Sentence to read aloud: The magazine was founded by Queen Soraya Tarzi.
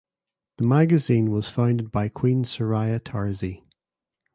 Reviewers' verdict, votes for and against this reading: accepted, 2, 0